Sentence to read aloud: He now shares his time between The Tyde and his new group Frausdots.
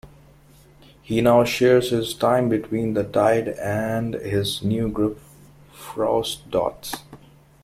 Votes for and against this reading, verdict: 2, 0, accepted